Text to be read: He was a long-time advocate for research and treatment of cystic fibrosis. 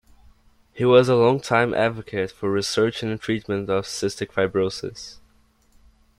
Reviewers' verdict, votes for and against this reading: accepted, 2, 0